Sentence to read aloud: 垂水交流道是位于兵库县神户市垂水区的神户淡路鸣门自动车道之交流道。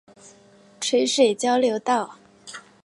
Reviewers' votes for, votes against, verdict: 4, 3, accepted